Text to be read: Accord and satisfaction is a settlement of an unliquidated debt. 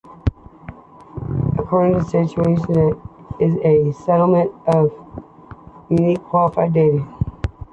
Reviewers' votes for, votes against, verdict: 1, 2, rejected